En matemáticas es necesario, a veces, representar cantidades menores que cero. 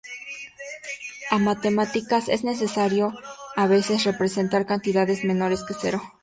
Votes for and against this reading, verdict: 2, 0, accepted